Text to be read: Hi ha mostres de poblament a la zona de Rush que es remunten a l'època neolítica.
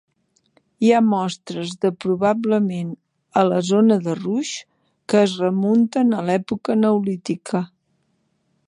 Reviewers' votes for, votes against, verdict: 1, 2, rejected